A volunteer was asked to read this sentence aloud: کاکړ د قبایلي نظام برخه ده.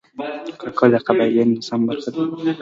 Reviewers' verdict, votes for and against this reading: rejected, 1, 3